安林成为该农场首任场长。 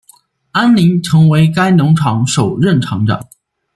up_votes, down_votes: 2, 0